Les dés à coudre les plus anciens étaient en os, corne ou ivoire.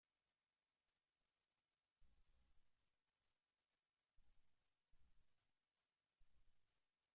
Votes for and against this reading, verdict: 0, 2, rejected